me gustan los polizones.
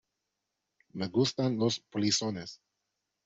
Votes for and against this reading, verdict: 2, 1, accepted